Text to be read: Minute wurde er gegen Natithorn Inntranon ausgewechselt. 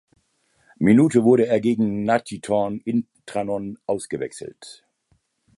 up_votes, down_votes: 2, 1